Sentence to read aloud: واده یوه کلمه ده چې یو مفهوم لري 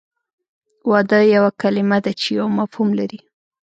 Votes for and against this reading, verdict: 2, 0, accepted